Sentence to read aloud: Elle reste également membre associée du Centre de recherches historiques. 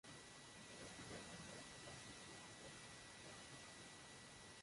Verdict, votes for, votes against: rejected, 0, 2